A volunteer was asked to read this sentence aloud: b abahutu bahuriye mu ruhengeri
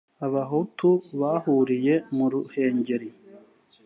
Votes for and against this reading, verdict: 2, 1, accepted